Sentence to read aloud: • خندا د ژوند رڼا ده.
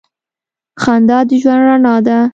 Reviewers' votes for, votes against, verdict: 2, 0, accepted